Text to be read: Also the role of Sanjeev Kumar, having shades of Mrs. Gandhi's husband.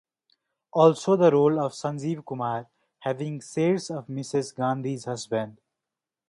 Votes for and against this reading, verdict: 0, 2, rejected